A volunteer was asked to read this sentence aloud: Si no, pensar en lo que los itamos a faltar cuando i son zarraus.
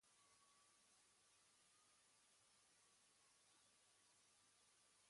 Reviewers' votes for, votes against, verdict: 1, 2, rejected